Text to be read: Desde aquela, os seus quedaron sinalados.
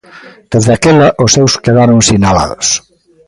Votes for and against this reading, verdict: 2, 0, accepted